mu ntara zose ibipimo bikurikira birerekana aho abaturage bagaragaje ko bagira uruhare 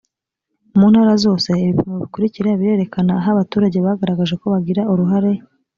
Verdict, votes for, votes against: accepted, 2, 0